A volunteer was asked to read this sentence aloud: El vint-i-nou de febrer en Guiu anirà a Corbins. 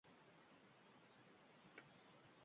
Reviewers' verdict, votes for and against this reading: rejected, 0, 2